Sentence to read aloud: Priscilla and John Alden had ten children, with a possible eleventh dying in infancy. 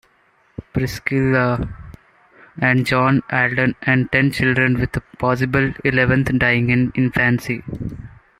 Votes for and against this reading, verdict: 0, 2, rejected